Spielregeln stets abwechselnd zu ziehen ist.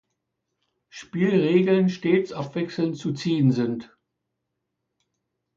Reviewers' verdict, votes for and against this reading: rejected, 0, 2